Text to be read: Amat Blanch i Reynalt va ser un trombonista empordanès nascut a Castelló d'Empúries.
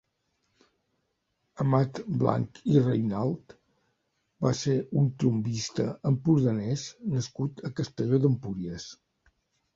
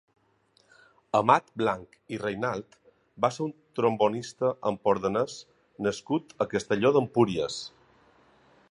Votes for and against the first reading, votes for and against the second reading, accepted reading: 2, 3, 3, 0, second